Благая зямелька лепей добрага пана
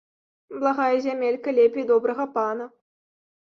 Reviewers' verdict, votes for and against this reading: accepted, 2, 0